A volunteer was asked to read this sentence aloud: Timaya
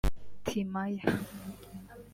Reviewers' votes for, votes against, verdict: 1, 2, rejected